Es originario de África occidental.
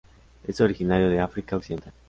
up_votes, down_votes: 2, 2